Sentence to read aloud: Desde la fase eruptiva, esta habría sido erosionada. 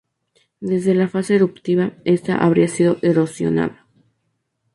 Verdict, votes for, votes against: accepted, 2, 0